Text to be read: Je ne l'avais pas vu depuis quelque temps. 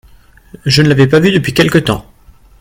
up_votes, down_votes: 2, 0